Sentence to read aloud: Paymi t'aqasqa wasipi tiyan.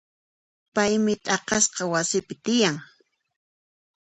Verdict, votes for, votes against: accepted, 2, 0